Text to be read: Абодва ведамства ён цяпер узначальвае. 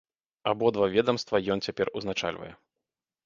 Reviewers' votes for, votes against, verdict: 2, 0, accepted